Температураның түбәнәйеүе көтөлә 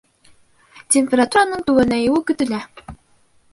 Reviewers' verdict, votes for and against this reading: rejected, 0, 2